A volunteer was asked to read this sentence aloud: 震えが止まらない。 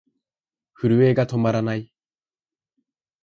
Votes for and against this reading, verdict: 4, 0, accepted